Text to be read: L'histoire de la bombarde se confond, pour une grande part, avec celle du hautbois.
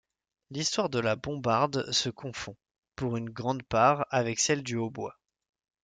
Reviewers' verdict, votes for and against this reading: accepted, 2, 0